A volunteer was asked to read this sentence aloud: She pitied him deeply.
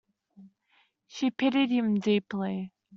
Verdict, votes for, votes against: accepted, 2, 0